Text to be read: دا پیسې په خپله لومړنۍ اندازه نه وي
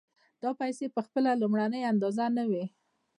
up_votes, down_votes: 1, 2